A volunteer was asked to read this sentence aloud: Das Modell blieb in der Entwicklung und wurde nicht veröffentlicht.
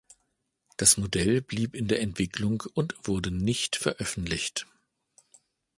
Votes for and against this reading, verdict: 2, 0, accepted